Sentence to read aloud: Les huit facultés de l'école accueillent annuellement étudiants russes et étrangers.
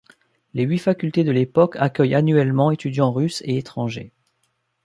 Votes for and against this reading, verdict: 0, 2, rejected